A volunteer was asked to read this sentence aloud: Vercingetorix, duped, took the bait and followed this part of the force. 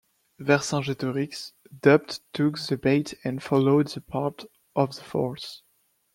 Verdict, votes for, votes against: rejected, 0, 2